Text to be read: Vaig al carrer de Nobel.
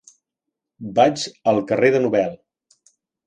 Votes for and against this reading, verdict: 4, 0, accepted